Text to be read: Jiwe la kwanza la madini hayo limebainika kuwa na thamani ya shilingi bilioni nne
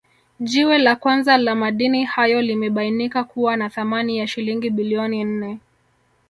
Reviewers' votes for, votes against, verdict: 1, 2, rejected